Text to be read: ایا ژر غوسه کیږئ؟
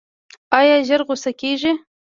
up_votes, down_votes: 2, 1